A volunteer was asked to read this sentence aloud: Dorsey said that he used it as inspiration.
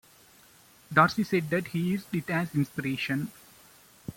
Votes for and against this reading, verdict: 2, 0, accepted